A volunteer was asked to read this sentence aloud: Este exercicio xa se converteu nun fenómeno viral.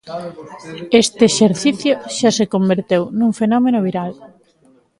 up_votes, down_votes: 2, 0